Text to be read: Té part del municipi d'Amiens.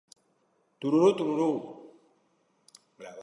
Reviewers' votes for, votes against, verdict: 0, 2, rejected